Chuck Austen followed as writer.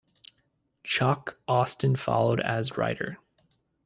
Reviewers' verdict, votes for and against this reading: accepted, 2, 0